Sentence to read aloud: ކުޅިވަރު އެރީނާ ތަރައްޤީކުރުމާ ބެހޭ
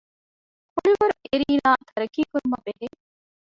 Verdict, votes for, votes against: rejected, 0, 2